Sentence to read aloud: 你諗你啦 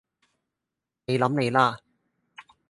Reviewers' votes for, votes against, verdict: 2, 2, rejected